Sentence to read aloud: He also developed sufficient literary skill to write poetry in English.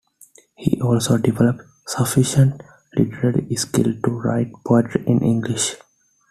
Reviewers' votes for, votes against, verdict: 2, 0, accepted